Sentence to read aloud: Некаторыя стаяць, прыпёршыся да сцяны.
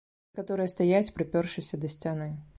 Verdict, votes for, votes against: rejected, 0, 2